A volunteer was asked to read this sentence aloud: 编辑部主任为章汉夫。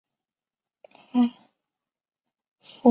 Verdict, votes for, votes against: rejected, 0, 2